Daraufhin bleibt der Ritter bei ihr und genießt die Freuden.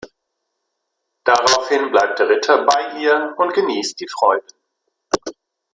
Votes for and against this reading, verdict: 0, 2, rejected